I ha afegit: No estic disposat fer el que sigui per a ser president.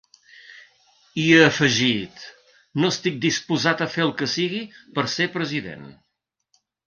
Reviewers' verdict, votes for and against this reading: rejected, 0, 2